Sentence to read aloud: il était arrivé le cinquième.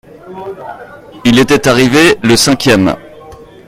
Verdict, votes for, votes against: accepted, 2, 0